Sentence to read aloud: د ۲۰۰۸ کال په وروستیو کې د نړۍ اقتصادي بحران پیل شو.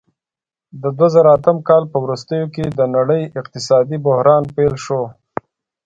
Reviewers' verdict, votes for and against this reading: rejected, 0, 2